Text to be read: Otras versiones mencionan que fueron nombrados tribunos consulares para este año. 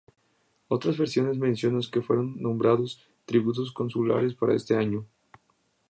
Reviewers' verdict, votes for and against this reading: accepted, 2, 0